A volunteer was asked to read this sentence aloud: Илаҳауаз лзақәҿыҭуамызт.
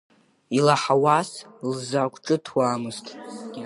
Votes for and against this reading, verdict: 1, 2, rejected